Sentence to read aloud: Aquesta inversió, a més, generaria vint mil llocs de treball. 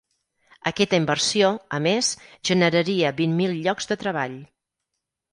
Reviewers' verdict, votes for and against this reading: rejected, 2, 4